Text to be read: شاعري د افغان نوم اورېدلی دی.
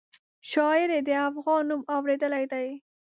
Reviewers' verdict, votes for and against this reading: rejected, 1, 2